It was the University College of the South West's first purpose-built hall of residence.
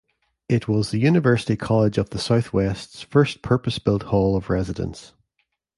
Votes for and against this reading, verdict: 2, 0, accepted